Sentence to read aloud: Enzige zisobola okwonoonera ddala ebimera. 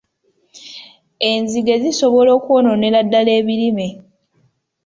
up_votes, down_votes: 0, 2